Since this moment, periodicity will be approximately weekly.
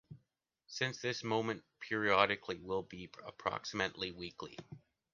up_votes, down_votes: 0, 2